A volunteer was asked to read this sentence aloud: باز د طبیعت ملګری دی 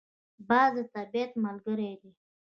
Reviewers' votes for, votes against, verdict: 1, 2, rejected